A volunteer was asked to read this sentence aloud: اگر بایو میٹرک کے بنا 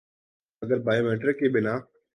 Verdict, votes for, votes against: accepted, 2, 0